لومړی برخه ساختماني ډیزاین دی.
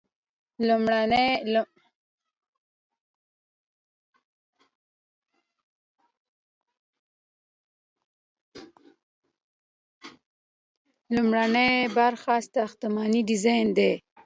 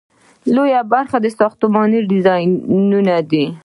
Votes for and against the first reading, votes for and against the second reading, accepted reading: 0, 2, 2, 1, second